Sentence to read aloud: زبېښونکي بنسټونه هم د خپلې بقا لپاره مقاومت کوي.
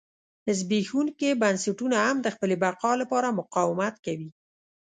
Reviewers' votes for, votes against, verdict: 2, 0, accepted